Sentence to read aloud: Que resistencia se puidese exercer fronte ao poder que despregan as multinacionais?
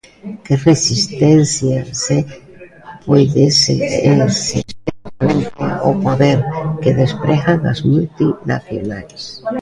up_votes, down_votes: 0, 2